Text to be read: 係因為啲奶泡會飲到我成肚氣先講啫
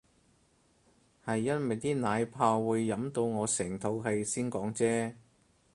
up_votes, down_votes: 4, 0